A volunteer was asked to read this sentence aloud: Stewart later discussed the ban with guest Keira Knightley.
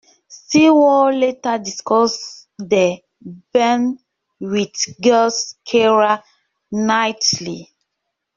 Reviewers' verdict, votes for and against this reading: rejected, 0, 2